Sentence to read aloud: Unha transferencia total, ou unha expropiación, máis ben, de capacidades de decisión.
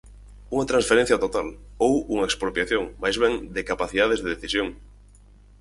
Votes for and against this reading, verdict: 4, 0, accepted